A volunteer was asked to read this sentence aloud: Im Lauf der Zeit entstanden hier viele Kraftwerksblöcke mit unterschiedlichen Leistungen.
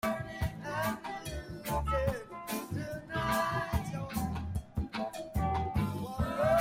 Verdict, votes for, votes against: rejected, 0, 2